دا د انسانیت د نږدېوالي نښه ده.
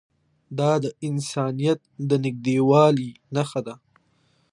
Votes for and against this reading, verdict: 2, 0, accepted